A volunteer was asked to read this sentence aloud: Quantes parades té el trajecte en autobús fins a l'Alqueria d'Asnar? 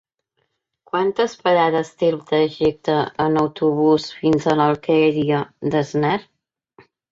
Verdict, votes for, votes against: rejected, 1, 2